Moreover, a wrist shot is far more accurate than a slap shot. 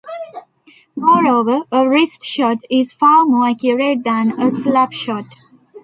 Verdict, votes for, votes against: rejected, 1, 2